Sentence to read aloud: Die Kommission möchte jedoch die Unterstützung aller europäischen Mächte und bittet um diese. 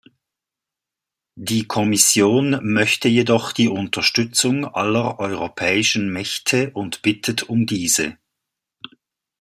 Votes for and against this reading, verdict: 2, 0, accepted